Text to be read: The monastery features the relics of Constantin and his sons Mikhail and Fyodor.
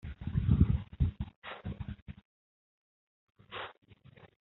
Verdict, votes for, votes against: rejected, 0, 2